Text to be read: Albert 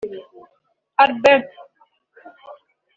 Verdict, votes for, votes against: rejected, 0, 2